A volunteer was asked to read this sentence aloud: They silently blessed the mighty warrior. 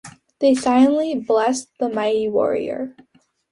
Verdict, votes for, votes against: accepted, 2, 0